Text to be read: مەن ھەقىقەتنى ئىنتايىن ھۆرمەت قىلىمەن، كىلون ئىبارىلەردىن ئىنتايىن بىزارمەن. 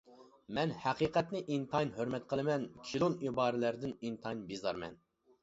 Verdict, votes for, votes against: accepted, 2, 0